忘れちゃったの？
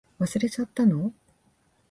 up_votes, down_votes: 2, 0